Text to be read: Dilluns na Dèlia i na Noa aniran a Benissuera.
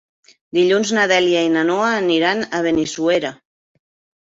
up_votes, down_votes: 3, 0